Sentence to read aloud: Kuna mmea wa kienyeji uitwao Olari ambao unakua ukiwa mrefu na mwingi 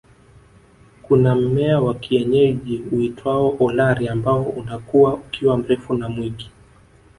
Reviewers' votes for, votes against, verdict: 9, 0, accepted